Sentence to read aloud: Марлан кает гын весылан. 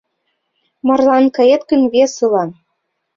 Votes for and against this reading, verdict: 2, 0, accepted